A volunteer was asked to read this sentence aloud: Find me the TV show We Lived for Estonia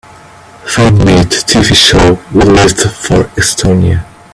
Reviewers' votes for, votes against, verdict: 2, 0, accepted